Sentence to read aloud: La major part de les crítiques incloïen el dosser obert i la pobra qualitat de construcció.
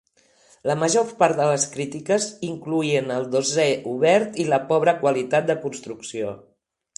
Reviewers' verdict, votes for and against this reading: accepted, 3, 2